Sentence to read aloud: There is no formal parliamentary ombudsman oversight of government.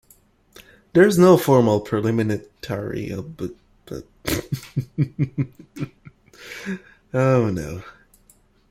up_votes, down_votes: 0, 2